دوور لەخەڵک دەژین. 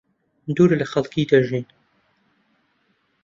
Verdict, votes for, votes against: rejected, 0, 2